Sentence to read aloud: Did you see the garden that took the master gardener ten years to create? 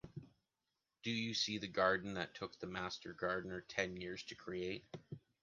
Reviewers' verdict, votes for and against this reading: rejected, 0, 2